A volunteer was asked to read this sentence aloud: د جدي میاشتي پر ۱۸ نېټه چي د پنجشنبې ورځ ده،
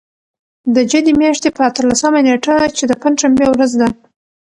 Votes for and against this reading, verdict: 0, 2, rejected